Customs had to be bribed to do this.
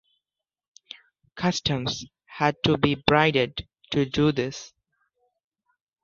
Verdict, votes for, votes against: rejected, 0, 2